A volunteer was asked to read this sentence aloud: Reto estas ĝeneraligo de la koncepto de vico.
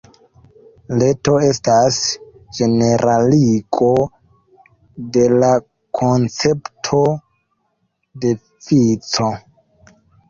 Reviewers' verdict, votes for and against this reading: rejected, 1, 2